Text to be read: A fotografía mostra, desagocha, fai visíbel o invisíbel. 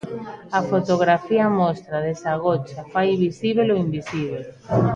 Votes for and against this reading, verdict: 2, 0, accepted